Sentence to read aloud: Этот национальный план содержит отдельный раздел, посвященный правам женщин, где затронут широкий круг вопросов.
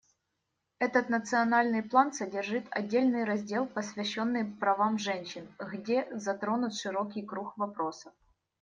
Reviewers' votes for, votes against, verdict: 1, 2, rejected